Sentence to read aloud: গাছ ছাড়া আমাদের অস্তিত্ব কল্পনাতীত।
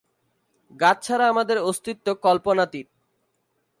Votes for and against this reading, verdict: 2, 0, accepted